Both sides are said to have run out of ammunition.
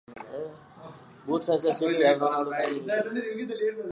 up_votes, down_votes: 0, 2